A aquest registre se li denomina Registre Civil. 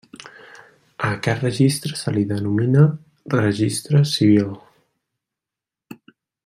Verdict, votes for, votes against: accepted, 3, 0